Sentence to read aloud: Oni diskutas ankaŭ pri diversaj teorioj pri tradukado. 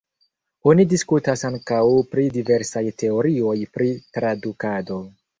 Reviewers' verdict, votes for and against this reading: accepted, 2, 0